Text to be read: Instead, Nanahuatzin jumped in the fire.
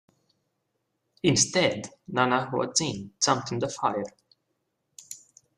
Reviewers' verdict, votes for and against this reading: accepted, 2, 1